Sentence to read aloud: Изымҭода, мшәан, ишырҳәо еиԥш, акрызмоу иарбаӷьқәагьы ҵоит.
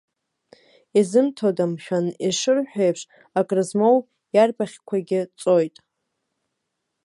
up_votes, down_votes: 0, 2